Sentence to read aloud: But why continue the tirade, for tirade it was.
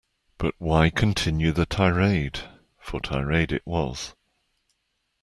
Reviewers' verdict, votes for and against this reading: accepted, 2, 0